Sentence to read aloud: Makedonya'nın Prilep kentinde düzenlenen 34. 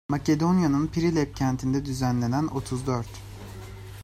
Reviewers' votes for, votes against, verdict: 0, 2, rejected